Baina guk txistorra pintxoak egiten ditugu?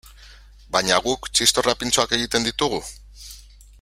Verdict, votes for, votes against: accepted, 4, 0